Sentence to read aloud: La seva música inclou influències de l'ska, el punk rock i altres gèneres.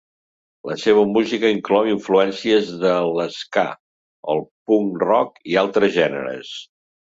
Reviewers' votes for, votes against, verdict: 2, 0, accepted